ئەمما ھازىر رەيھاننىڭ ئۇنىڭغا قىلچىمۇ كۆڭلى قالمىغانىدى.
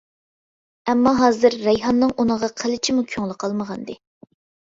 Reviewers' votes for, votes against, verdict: 2, 0, accepted